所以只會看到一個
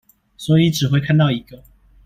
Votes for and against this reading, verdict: 2, 1, accepted